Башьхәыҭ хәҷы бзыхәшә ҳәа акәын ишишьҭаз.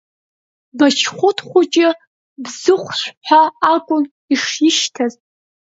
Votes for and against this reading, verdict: 1, 2, rejected